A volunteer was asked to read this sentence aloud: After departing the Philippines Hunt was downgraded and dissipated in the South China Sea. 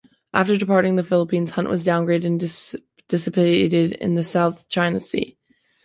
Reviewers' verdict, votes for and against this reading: rejected, 2, 3